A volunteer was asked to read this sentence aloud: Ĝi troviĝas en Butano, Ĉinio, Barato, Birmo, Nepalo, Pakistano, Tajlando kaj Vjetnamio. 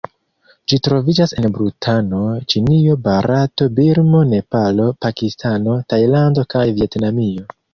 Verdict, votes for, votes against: rejected, 0, 2